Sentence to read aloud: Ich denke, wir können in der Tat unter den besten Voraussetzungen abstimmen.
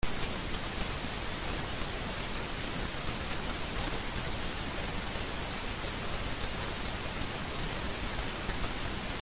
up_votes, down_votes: 0, 2